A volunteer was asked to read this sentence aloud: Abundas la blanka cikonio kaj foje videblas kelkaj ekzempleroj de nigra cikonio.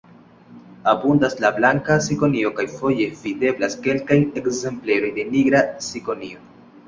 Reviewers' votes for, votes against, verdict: 2, 0, accepted